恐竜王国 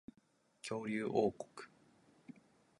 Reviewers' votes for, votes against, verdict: 2, 1, accepted